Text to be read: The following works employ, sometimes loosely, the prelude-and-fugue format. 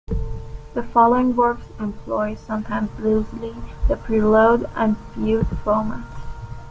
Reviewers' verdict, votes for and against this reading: accepted, 2, 1